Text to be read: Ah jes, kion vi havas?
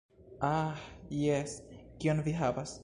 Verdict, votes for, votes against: rejected, 1, 2